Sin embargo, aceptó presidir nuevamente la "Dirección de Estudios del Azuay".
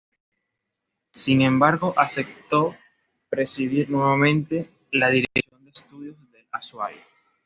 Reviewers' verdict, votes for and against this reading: rejected, 1, 2